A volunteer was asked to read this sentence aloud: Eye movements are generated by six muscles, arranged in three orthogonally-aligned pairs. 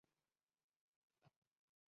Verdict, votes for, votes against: rejected, 0, 2